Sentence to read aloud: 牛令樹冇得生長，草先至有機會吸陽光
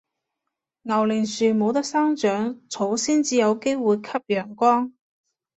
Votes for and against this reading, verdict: 2, 0, accepted